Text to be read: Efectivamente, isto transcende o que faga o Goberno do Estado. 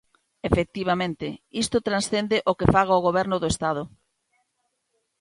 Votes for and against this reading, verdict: 2, 0, accepted